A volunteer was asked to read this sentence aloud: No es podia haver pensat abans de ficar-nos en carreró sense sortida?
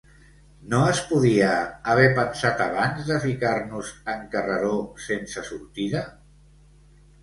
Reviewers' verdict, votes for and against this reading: accepted, 2, 0